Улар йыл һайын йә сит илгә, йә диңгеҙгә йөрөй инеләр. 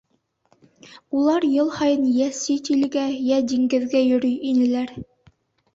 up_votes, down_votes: 3, 0